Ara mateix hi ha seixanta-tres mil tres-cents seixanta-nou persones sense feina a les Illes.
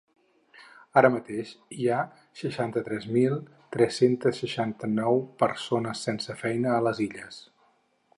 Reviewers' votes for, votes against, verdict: 0, 4, rejected